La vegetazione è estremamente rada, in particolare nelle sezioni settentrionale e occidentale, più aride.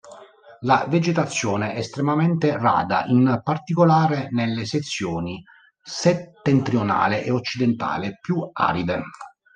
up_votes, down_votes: 0, 2